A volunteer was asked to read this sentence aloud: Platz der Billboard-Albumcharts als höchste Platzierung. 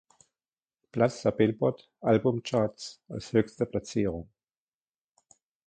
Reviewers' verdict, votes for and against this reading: accepted, 2, 1